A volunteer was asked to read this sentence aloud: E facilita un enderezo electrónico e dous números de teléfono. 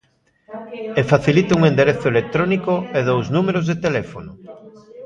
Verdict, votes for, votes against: accepted, 2, 0